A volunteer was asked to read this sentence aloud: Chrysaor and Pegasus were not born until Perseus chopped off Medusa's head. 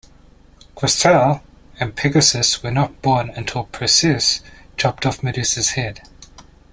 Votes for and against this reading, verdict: 2, 0, accepted